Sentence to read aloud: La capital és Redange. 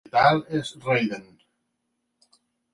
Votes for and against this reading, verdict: 1, 2, rejected